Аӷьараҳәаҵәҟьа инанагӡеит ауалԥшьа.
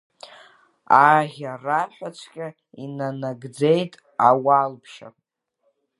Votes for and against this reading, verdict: 2, 0, accepted